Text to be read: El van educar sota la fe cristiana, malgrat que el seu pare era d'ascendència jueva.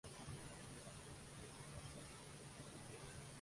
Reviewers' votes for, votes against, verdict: 0, 2, rejected